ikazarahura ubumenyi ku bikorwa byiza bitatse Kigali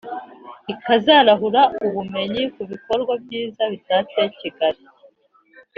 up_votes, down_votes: 2, 0